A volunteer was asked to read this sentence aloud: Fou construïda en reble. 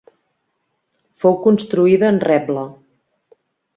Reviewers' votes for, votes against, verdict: 2, 1, accepted